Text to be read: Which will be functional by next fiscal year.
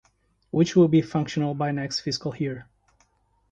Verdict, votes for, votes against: accepted, 2, 0